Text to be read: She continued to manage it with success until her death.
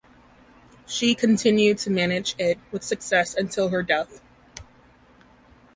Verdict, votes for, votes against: accepted, 2, 0